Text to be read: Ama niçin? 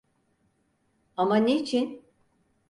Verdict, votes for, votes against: accepted, 4, 0